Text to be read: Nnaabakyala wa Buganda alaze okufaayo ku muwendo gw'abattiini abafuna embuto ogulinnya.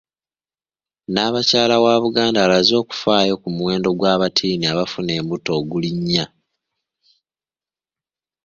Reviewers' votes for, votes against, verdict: 2, 0, accepted